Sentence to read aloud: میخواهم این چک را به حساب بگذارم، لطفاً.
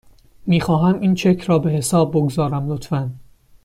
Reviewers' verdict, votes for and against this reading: accepted, 2, 0